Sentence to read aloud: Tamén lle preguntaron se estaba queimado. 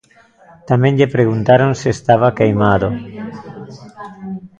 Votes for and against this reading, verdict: 0, 2, rejected